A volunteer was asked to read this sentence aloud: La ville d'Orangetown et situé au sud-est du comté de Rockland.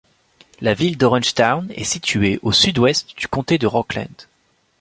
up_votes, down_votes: 1, 2